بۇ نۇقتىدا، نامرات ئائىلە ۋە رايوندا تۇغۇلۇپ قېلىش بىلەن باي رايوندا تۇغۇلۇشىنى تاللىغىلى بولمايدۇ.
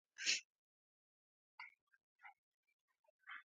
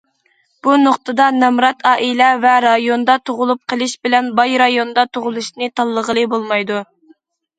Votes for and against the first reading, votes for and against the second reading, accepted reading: 0, 2, 2, 0, second